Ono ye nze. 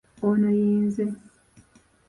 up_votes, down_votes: 3, 2